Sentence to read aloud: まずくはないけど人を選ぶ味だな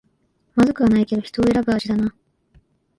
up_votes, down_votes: 0, 2